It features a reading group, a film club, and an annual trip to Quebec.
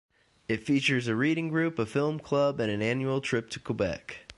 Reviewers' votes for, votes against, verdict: 2, 0, accepted